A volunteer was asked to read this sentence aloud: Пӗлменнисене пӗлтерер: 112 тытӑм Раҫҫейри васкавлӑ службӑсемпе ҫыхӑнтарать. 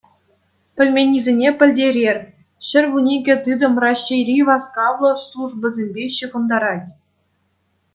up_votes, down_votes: 0, 2